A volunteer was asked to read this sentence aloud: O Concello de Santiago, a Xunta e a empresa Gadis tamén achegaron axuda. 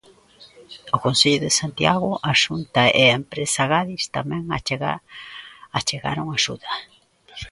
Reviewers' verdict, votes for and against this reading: rejected, 0, 2